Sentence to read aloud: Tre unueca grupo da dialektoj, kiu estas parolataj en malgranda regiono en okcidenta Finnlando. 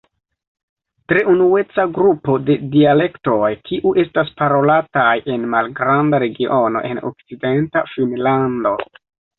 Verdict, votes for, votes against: accepted, 2, 0